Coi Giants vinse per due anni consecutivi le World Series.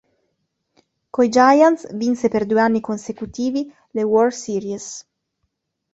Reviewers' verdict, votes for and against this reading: accepted, 2, 0